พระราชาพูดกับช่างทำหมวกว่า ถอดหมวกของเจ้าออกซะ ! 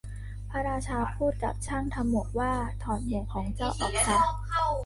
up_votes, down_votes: 1, 2